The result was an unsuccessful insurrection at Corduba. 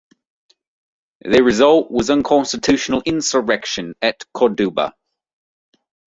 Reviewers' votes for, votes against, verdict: 1, 2, rejected